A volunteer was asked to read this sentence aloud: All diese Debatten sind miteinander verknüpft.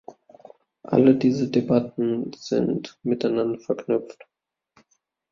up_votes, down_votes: 0, 2